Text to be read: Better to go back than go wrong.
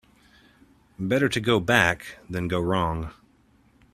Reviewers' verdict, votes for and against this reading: accepted, 2, 0